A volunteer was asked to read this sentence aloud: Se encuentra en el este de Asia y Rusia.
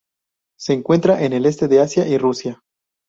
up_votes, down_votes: 2, 0